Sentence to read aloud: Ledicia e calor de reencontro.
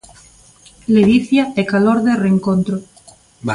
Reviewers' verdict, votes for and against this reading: rejected, 1, 2